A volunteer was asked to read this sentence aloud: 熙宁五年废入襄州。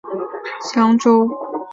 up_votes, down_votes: 1, 2